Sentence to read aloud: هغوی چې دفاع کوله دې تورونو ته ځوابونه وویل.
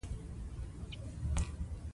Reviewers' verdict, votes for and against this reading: accepted, 2, 0